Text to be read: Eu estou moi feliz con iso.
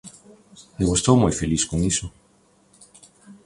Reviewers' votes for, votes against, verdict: 2, 0, accepted